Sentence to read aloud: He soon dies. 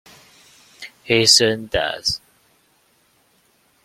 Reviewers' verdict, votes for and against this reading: accepted, 3, 0